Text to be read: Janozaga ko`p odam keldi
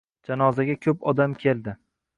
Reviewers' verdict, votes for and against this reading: accepted, 2, 0